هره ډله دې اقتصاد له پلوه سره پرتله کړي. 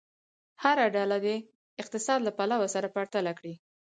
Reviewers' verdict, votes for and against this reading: accepted, 4, 0